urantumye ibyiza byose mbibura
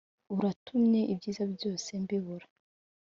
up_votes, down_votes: 2, 1